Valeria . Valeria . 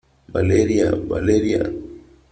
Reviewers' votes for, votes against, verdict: 3, 0, accepted